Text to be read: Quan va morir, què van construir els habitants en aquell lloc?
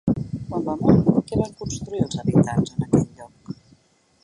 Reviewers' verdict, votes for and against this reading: rejected, 0, 2